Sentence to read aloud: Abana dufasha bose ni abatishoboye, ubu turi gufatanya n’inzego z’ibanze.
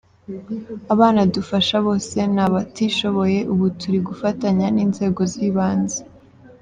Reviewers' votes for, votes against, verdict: 3, 0, accepted